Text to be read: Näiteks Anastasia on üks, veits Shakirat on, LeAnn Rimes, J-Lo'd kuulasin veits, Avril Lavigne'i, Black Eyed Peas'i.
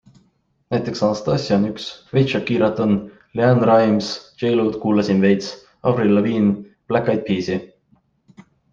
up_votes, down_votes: 3, 0